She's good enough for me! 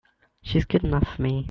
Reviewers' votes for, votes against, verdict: 3, 0, accepted